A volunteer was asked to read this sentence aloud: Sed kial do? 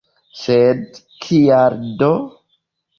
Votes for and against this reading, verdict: 2, 0, accepted